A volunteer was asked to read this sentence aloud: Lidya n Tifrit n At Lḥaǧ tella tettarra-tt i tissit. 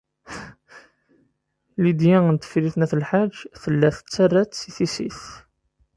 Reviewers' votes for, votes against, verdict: 1, 2, rejected